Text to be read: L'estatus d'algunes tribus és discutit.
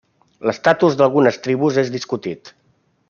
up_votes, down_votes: 3, 0